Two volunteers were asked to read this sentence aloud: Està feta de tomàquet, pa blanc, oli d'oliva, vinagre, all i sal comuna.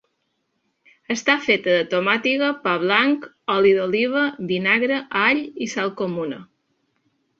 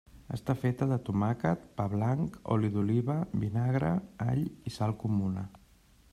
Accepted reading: second